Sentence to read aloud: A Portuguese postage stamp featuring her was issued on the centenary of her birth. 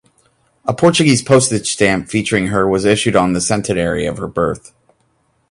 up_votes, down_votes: 2, 0